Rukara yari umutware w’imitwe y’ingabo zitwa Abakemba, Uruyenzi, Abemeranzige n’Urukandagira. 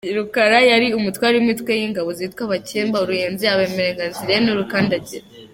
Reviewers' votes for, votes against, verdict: 2, 0, accepted